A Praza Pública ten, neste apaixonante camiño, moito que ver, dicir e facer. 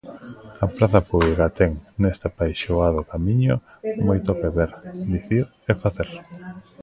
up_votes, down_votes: 0, 2